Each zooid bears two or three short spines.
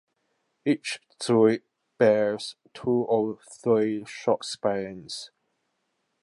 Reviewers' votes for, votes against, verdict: 1, 2, rejected